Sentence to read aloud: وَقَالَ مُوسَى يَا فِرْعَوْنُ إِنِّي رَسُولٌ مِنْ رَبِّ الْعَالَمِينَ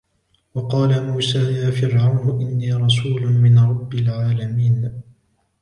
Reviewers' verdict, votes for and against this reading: accepted, 3, 0